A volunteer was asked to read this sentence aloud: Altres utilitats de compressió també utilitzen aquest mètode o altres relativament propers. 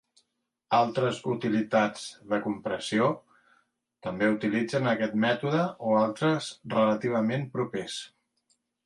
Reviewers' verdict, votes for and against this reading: accepted, 2, 0